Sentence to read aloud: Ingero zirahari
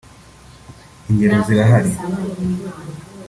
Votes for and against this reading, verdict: 2, 0, accepted